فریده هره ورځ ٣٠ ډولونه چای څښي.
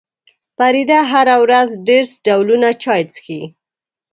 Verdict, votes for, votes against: rejected, 0, 2